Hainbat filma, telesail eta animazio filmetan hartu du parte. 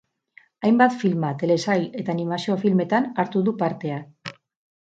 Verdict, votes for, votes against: rejected, 0, 2